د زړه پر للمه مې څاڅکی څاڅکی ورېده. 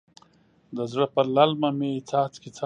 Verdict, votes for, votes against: rejected, 0, 2